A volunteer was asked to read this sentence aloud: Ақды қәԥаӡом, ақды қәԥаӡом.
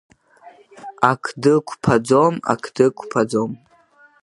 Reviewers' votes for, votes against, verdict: 3, 0, accepted